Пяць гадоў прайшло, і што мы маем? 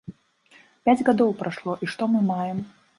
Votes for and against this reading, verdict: 2, 1, accepted